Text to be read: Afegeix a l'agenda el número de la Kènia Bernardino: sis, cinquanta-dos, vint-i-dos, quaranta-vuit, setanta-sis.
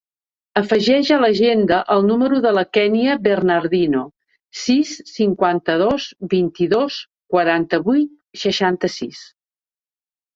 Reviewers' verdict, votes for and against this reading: accepted, 2, 1